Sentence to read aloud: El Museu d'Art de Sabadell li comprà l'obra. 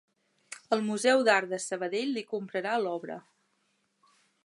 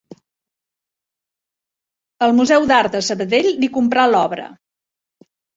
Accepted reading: second